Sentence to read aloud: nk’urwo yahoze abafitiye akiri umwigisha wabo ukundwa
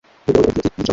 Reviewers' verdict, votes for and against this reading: rejected, 1, 2